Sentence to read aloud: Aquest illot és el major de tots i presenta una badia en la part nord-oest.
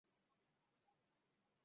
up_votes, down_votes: 0, 3